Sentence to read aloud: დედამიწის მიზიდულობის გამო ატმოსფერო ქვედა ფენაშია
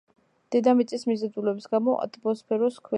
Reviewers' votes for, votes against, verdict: 1, 2, rejected